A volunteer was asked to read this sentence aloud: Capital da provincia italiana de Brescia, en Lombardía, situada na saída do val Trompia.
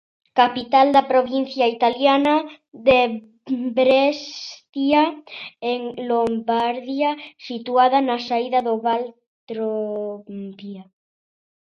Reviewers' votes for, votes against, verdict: 0, 2, rejected